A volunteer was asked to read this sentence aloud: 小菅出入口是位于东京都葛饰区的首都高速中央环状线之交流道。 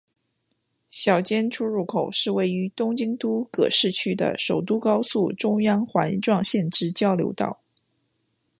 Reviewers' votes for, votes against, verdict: 2, 0, accepted